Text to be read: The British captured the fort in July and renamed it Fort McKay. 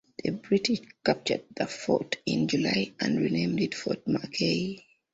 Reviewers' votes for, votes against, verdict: 2, 1, accepted